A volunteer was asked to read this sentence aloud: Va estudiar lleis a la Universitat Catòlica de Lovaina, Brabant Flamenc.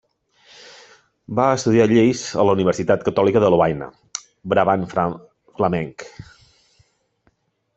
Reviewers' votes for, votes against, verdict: 0, 2, rejected